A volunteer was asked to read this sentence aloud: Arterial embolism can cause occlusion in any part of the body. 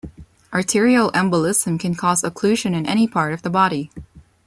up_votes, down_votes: 2, 0